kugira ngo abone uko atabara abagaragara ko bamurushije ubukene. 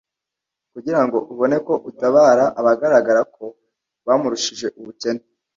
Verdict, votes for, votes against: rejected, 1, 2